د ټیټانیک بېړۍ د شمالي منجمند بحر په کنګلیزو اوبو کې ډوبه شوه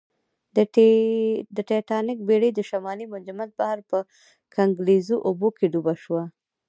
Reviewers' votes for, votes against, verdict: 2, 0, accepted